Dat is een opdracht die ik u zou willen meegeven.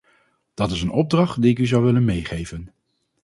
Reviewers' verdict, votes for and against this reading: accepted, 2, 0